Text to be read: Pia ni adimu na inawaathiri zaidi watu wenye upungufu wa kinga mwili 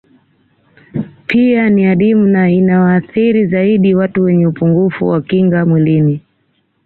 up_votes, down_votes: 1, 2